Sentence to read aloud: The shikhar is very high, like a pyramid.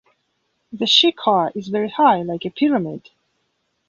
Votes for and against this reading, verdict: 2, 0, accepted